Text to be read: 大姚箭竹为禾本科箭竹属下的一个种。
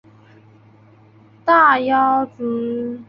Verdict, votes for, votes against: rejected, 0, 2